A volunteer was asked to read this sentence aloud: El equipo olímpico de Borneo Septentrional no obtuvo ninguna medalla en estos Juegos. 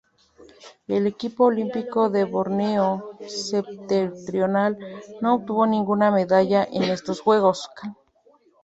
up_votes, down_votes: 2, 0